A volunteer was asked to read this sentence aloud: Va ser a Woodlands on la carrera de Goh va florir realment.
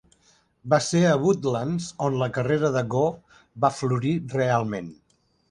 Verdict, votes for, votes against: rejected, 1, 2